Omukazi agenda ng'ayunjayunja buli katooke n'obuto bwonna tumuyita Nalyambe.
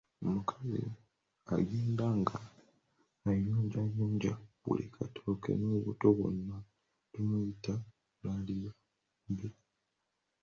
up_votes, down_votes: 1, 2